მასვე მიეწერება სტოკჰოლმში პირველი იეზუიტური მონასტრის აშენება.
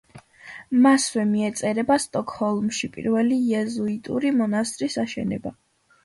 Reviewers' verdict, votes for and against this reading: accepted, 2, 0